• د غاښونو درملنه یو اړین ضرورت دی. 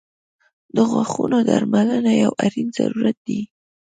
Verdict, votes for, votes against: rejected, 0, 2